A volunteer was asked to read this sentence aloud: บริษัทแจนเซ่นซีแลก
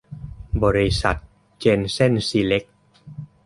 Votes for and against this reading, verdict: 0, 2, rejected